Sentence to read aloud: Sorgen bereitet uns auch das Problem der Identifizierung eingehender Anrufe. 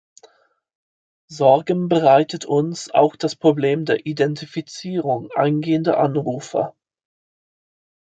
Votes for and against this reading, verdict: 0, 2, rejected